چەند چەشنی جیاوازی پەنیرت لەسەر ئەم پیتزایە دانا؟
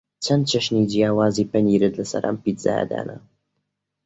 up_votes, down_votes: 2, 0